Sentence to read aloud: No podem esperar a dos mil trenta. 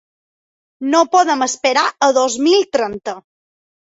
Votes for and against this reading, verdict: 3, 0, accepted